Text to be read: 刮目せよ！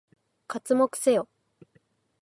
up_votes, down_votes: 2, 2